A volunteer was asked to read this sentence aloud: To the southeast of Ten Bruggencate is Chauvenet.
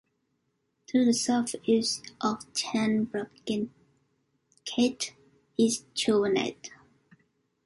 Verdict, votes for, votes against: accepted, 2, 1